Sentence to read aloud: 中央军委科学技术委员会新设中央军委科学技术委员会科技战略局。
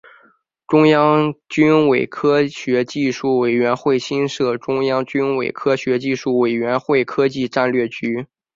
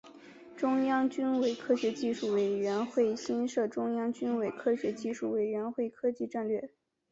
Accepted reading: first